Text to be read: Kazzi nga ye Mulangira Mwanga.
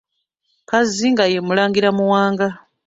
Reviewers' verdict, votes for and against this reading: rejected, 1, 2